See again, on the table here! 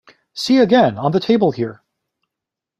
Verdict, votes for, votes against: accepted, 2, 0